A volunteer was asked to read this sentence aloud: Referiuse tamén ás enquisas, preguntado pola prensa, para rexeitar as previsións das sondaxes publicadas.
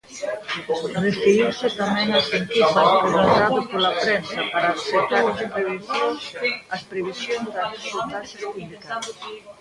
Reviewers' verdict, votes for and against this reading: rejected, 0, 2